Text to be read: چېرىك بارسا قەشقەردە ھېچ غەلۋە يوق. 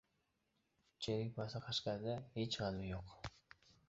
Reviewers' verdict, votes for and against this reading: rejected, 0, 2